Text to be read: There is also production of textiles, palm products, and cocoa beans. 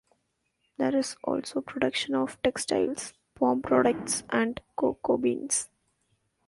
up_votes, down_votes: 2, 0